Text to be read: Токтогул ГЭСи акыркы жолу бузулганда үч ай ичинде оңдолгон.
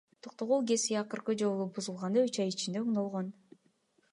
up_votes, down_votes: 2, 0